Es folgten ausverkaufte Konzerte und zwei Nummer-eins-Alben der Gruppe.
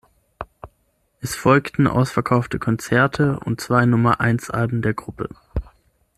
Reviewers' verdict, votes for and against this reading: accepted, 6, 0